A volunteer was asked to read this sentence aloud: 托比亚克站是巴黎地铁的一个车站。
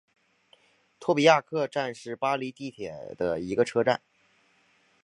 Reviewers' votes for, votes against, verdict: 0, 2, rejected